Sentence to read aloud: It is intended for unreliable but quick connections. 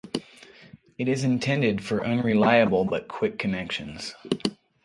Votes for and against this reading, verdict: 3, 6, rejected